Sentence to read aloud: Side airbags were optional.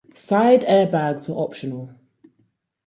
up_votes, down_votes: 2, 4